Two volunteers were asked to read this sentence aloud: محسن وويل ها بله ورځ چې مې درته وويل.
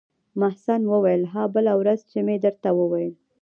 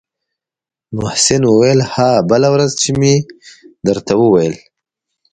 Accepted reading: second